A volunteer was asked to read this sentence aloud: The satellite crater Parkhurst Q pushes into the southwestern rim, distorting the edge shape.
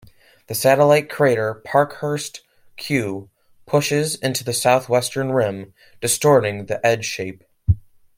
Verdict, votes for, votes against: accepted, 2, 1